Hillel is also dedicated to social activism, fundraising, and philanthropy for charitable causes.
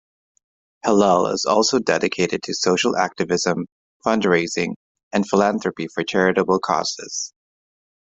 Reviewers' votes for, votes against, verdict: 2, 0, accepted